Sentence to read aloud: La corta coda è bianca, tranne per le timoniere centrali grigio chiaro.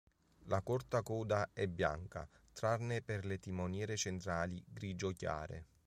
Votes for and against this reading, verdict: 1, 2, rejected